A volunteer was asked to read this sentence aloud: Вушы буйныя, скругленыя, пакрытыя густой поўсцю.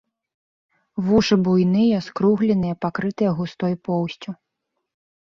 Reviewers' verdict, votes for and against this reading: accepted, 2, 0